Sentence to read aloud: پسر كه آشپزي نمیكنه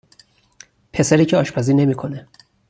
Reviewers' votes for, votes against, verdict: 2, 4, rejected